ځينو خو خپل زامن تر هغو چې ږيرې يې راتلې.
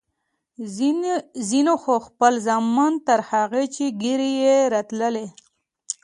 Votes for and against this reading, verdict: 1, 2, rejected